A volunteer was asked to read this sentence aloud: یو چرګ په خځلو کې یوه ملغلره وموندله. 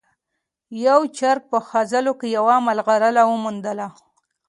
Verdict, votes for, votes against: accepted, 2, 0